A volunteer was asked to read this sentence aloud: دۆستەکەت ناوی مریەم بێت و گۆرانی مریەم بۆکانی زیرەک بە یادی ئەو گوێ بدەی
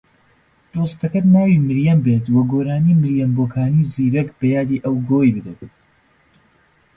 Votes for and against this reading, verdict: 0, 2, rejected